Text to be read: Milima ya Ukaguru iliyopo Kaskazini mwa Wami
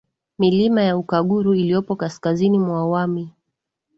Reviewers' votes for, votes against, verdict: 9, 1, accepted